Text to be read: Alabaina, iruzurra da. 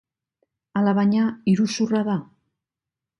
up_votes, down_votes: 3, 1